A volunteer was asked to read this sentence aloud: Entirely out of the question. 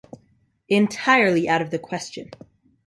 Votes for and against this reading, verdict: 3, 0, accepted